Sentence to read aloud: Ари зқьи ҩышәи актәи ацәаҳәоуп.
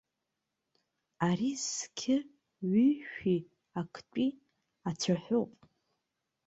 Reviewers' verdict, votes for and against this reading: rejected, 0, 2